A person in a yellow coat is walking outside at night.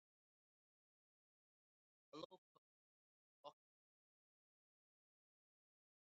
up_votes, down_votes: 0, 2